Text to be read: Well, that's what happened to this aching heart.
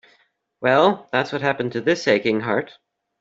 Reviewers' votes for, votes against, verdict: 2, 0, accepted